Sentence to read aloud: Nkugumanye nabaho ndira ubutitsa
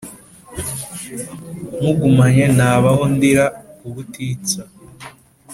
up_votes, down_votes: 2, 1